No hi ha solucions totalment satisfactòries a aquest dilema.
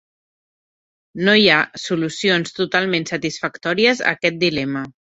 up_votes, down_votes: 2, 0